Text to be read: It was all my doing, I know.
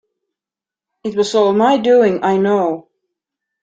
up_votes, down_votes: 2, 0